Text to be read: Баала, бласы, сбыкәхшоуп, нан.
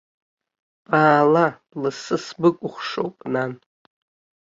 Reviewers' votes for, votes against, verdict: 3, 0, accepted